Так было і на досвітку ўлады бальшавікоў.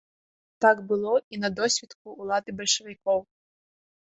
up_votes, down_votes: 2, 0